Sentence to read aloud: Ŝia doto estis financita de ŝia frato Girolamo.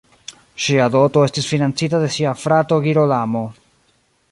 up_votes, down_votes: 0, 2